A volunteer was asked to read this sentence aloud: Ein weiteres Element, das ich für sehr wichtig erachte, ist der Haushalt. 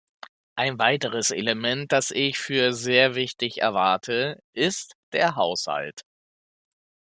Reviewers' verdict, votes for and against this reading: rejected, 0, 2